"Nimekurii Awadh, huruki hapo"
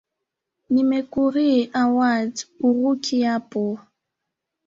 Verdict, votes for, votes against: rejected, 1, 2